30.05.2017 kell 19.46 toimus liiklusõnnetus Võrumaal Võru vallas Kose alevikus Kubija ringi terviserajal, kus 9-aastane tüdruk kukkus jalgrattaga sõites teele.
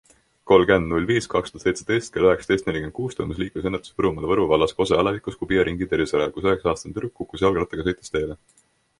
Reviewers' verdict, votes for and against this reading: rejected, 0, 2